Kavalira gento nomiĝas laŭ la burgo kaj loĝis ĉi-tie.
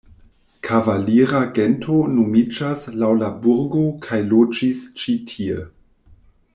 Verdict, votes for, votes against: accepted, 2, 1